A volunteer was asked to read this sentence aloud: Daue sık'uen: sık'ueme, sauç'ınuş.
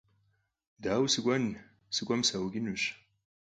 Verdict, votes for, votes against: rejected, 2, 4